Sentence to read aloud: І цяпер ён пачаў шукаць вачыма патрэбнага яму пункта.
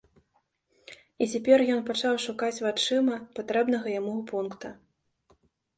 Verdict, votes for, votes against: accepted, 2, 0